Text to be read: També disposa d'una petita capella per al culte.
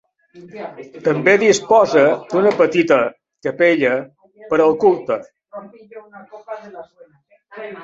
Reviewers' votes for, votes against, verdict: 2, 0, accepted